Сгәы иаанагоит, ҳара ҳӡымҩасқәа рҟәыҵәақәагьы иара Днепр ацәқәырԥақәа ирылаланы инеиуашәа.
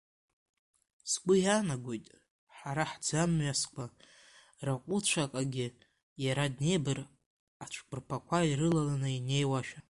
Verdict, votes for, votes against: accepted, 2, 0